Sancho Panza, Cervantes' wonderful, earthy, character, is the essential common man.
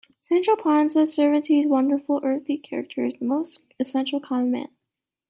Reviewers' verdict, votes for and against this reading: rejected, 1, 2